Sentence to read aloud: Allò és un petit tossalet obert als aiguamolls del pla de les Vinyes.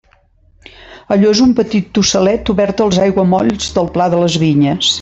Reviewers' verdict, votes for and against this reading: accepted, 2, 0